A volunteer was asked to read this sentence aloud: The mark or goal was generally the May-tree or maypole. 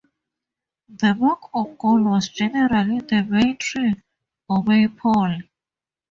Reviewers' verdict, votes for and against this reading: rejected, 0, 2